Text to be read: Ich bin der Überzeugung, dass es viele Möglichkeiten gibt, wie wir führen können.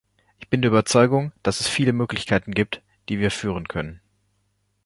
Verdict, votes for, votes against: rejected, 0, 2